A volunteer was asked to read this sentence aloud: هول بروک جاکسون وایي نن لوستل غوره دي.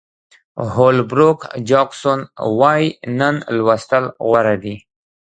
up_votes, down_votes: 1, 2